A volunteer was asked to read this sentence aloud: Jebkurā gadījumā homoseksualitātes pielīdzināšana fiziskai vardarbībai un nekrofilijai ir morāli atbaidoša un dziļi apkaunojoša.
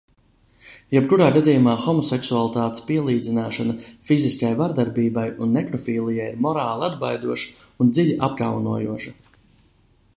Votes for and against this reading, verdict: 2, 0, accepted